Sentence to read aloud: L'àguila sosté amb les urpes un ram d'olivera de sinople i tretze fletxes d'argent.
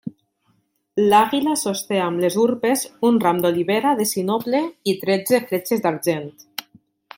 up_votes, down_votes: 2, 0